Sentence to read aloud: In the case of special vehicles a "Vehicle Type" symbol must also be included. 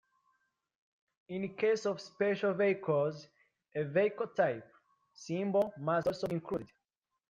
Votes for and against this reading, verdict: 1, 2, rejected